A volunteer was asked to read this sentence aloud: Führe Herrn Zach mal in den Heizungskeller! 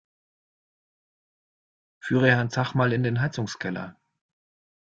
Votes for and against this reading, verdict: 2, 0, accepted